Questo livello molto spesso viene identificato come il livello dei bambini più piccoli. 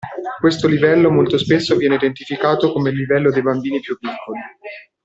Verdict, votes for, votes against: rejected, 1, 2